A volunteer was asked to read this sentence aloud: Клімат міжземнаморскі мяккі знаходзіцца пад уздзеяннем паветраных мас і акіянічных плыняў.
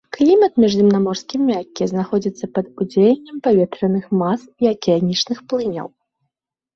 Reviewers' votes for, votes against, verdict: 1, 2, rejected